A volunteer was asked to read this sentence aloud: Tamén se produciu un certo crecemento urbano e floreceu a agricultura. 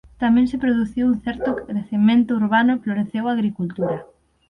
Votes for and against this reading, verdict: 6, 3, accepted